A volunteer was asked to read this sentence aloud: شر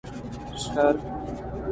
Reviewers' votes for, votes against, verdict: 2, 0, accepted